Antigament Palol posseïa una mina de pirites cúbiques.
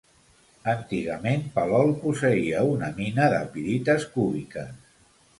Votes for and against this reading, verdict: 2, 0, accepted